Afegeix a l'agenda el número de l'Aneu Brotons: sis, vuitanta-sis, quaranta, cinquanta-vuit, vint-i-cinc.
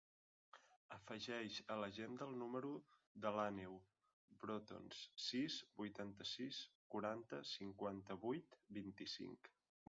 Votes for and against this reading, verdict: 0, 2, rejected